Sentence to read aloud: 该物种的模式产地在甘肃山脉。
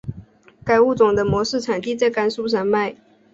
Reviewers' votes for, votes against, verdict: 2, 0, accepted